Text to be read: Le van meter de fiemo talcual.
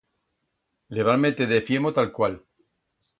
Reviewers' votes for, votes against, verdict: 2, 0, accepted